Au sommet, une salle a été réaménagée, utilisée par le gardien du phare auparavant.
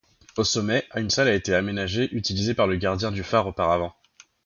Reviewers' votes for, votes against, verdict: 1, 2, rejected